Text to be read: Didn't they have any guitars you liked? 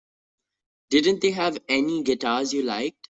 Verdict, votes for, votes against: accepted, 2, 0